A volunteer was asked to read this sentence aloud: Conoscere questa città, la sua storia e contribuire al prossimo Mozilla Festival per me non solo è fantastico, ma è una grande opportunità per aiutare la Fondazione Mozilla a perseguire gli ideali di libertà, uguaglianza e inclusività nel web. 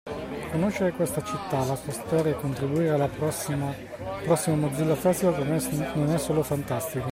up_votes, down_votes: 0, 2